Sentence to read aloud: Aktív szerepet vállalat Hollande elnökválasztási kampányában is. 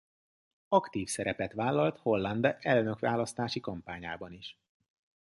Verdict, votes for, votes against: rejected, 1, 2